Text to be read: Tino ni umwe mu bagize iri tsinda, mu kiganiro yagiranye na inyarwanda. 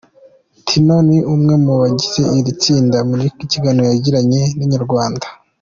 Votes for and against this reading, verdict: 2, 0, accepted